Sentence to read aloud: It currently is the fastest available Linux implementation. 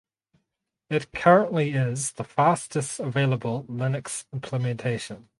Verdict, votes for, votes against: accepted, 4, 0